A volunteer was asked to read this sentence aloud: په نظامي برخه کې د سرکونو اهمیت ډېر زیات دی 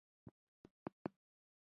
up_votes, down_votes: 1, 2